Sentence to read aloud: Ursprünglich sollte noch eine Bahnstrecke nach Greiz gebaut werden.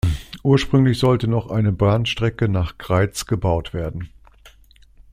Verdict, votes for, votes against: accepted, 2, 0